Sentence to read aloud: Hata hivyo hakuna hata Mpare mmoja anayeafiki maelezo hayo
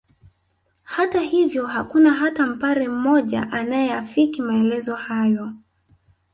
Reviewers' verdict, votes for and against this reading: rejected, 0, 2